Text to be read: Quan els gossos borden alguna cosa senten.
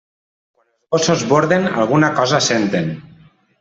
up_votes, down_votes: 0, 2